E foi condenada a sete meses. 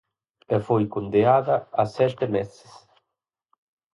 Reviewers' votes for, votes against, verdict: 0, 4, rejected